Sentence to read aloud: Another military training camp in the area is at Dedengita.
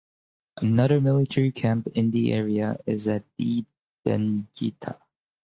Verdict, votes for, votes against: rejected, 0, 4